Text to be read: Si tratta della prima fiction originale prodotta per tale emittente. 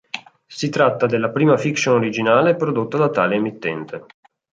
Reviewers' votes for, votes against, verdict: 0, 2, rejected